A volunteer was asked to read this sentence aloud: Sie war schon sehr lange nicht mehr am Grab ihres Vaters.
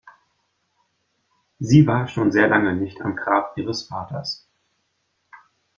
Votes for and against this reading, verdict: 1, 2, rejected